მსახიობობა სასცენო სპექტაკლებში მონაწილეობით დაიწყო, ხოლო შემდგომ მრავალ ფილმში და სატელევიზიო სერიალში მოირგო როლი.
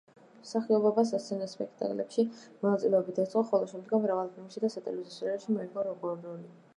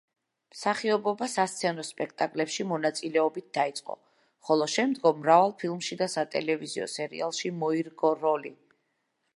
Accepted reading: second